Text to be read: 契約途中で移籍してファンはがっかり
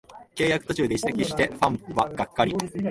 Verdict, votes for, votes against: rejected, 0, 3